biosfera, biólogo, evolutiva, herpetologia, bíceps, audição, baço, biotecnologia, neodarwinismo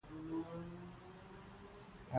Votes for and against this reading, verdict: 0, 3, rejected